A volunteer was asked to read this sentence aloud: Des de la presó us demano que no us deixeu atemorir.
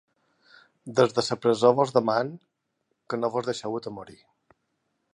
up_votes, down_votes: 2, 3